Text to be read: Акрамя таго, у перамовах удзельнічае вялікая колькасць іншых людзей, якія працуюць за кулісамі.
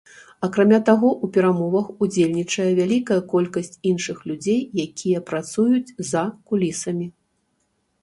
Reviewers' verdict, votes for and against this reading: accepted, 2, 0